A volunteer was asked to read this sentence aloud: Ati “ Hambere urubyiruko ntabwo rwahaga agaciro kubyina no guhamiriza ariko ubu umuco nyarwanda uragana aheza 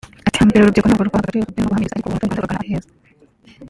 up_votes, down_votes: 1, 3